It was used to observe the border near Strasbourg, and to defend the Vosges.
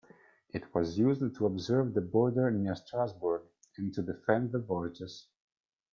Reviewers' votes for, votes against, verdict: 0, 2, rejected